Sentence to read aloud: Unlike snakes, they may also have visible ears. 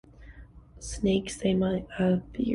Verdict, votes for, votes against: rejected, 1, 2